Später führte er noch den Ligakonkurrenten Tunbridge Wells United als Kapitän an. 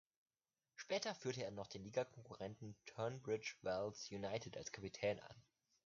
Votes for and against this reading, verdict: 1, 2, rejected